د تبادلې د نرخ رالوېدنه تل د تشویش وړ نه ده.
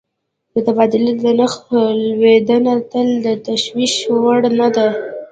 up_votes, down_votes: 1, 2